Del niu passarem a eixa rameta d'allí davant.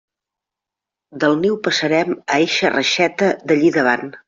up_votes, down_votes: 0, 2